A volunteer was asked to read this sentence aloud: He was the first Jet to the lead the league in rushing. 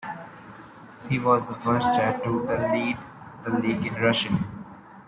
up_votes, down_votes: 0, 2